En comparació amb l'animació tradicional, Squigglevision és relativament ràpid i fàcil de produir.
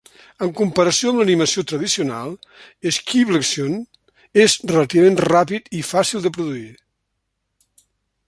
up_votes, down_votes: 0, 2